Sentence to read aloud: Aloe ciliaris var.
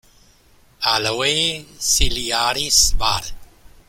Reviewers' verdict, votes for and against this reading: rejected, 1, 2